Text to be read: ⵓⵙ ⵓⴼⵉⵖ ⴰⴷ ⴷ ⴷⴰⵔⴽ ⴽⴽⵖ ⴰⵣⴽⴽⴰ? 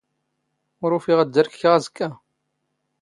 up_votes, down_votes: 0, 2